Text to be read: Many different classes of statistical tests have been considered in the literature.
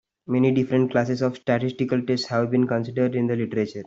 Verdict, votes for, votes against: rejected, 1, 2